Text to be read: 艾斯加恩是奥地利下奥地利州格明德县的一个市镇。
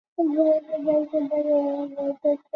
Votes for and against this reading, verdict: 0, 3, rejected